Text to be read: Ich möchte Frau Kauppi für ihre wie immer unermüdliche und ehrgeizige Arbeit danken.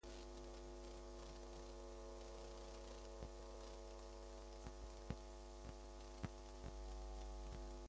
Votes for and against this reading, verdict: 0, 2, rejected